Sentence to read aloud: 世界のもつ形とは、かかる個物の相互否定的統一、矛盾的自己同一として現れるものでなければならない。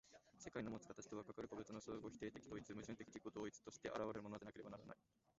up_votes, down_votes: 2, 0